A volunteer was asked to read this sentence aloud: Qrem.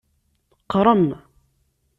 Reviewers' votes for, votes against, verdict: 2, 0, accepted